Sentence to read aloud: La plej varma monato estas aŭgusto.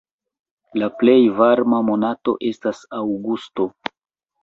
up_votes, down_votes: 1, 2